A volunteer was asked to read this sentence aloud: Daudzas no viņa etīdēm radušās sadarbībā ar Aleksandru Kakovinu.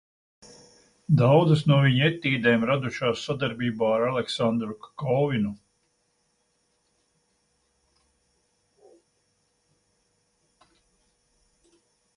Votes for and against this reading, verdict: 2, 0, accepted